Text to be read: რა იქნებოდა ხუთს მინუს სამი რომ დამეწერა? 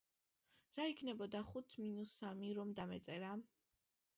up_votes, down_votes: 2, 0